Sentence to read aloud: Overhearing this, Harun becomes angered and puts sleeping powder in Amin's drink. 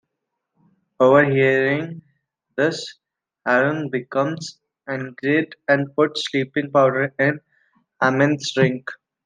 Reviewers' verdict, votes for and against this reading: rejected, 0, 2